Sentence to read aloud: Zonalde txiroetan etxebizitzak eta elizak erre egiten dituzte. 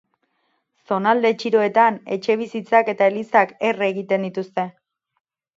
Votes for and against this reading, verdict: 8, 0, accepted